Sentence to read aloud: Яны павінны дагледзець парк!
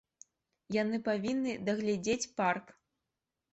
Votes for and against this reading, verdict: 2, 1, accepted